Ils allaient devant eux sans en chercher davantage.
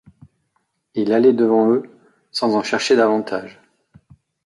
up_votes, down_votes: 2, 3